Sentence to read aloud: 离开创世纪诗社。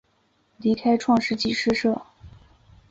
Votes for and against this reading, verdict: 6, 1, accepted